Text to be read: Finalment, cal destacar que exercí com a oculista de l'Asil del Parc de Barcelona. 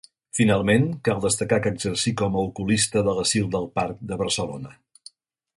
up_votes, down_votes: 2, 0